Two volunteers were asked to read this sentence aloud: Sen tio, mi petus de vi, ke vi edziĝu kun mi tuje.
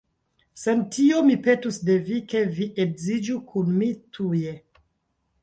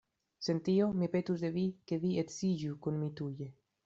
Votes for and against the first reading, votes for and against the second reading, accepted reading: 0, 2, 2, 0, second